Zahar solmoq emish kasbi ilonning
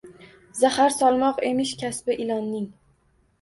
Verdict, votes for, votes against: accepted, 2, 0